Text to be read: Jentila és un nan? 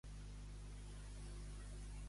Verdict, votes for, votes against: rejected, 0, 2